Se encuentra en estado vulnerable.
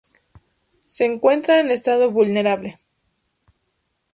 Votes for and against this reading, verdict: 2, 0, accepted